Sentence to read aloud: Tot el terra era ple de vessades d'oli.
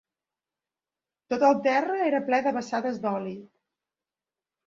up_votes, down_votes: 2, 0